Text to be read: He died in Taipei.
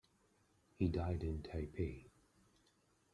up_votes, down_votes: 2, 0